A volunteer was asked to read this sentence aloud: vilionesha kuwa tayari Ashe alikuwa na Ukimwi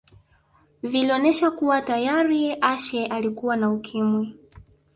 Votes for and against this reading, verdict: 1, 2, rejected